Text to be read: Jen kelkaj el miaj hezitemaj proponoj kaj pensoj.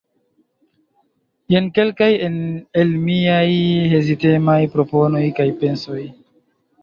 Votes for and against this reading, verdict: 2, 1, accepted